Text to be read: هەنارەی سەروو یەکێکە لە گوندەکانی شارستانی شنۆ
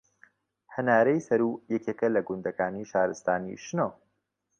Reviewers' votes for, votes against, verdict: 2, 0, accepted